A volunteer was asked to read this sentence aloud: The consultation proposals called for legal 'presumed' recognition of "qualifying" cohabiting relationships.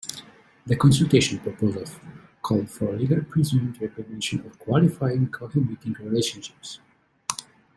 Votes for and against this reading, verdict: 2, 0, accepted